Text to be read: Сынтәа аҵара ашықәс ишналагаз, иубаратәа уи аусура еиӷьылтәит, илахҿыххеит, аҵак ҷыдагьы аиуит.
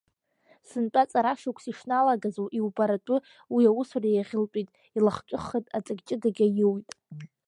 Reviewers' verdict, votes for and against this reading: rejected, 1, 2